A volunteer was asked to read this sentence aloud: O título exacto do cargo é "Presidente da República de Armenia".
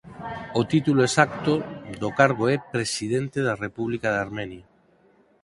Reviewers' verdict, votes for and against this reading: accepted, 4, 0